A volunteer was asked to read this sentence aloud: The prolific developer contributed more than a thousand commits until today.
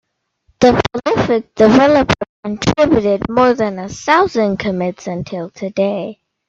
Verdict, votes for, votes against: rejected, 1, 2